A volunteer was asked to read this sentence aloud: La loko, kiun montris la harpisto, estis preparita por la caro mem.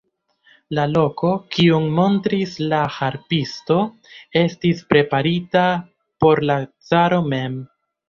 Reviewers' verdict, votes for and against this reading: rejected, 1, 2